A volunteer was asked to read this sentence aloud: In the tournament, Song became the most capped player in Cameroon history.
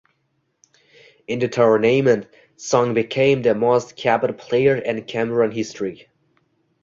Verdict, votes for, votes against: rejected, 1, 2